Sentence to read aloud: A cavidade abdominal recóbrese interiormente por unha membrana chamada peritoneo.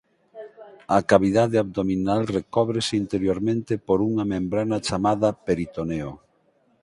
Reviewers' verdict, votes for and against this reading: accepted, 6, 0